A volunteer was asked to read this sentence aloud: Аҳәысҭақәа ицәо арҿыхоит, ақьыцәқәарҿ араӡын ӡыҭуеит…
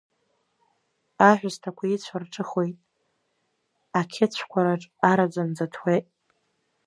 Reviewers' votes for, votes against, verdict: 1, 2, rejected